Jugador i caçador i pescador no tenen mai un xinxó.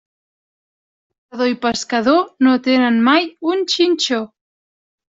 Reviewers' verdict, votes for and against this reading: rejected, 1, 2